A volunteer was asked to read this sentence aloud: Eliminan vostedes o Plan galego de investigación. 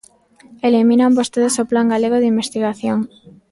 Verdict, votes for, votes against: accepted, 2, 1